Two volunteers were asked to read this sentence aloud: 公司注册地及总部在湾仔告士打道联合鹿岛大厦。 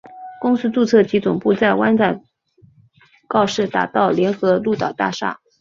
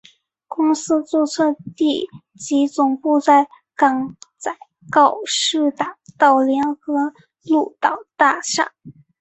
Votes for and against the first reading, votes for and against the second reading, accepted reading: 2, 1, 2, 3, first